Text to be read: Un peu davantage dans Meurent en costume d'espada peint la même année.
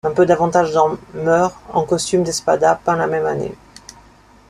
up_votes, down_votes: 0, 2